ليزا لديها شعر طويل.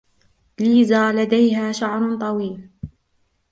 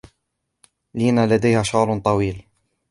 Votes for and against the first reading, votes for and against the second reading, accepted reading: 2, 0, 0, 2, first